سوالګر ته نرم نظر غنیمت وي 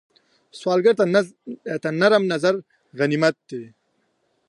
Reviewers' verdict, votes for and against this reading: rejected, 1, 2